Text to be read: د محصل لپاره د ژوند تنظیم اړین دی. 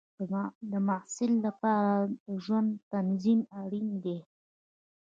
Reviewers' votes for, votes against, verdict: 1, 2, rejected